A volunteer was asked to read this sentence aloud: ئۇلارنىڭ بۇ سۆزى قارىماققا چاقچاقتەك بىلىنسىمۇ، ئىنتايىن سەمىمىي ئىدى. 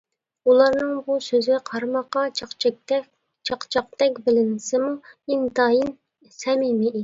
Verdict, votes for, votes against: rejected, 0, 2